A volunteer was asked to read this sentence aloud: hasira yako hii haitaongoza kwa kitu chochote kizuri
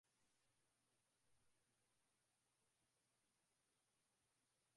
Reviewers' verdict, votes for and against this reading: rejected, 0, 2